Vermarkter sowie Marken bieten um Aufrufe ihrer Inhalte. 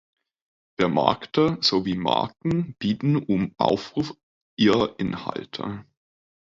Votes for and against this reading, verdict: 1, 2, rejected